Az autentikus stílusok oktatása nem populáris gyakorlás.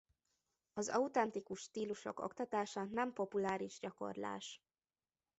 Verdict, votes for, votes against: accepted, 2, 0